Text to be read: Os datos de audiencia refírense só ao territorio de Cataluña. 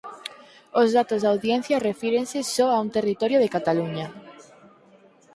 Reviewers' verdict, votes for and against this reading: rejected, 0, 4